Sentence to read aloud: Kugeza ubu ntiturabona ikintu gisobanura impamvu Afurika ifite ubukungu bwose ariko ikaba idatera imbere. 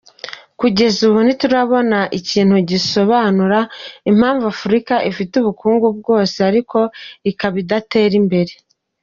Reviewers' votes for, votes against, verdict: 2, 0, accepted